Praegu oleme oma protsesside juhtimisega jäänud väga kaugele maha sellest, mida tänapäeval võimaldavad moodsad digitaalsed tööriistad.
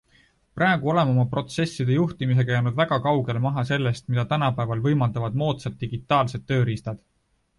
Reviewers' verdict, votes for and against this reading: accepted, 2, 0